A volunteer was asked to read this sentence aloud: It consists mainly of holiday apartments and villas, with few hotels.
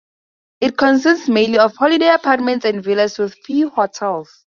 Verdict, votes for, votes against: accepted, 2, 0